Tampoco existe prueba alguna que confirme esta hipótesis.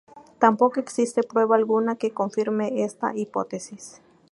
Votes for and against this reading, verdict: 2, 0, accepted